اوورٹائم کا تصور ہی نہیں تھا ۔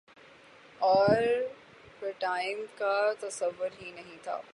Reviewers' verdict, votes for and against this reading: rejected, 0, 6